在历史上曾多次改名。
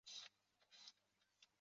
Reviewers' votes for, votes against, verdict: 5, 2, accepted